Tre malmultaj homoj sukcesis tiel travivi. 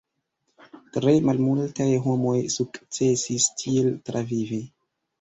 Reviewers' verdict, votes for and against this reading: rejected, 0, 2